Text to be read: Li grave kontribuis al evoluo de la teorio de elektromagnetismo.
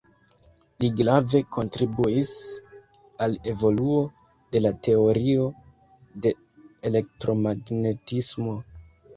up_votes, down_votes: 1, 2